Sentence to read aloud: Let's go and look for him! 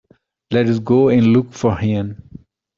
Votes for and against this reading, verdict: 2, 0, accepted